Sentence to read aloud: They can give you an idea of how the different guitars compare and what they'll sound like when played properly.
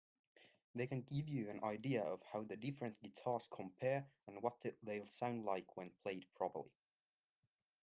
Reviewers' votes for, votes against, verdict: 2, 1, accepted